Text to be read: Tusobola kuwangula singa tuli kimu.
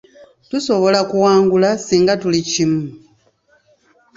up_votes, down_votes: 2, 1